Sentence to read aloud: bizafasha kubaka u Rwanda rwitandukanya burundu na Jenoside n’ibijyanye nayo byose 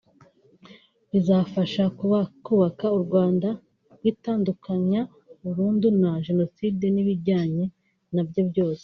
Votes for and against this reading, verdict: 1, 2, rejected